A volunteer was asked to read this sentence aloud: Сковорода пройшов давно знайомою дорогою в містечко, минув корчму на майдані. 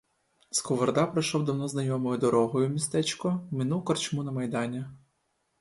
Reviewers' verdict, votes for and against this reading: rejected, 1, 2